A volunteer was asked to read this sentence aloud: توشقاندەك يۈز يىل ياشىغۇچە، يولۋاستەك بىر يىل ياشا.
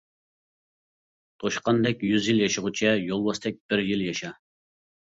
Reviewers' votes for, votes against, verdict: 2, 0, accepted